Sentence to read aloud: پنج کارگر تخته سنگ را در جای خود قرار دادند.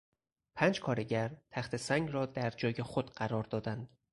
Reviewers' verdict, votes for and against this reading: accepted, 4, 0